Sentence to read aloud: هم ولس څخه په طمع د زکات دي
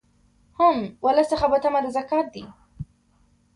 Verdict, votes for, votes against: accepted, 2, 0